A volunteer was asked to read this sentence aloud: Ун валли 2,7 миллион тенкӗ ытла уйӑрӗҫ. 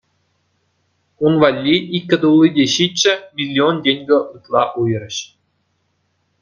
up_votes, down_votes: 0, 2